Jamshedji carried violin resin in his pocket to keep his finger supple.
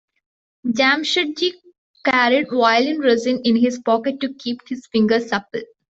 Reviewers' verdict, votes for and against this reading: rejected, 1, 2